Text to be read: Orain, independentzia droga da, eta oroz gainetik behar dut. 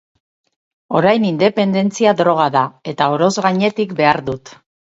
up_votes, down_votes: 4, 0